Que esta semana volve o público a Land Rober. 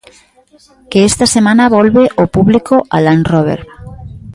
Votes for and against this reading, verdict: 1, 2, rejected